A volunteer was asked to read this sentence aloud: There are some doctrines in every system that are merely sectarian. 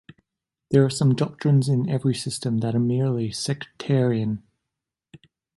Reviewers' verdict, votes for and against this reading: accepted, 3, 0